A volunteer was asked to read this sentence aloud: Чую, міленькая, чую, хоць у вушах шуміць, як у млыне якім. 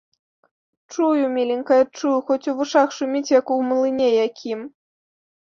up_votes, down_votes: 2, 0